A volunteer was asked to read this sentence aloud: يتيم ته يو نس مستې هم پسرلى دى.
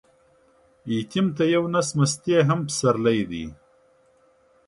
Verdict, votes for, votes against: accepted, 2, 0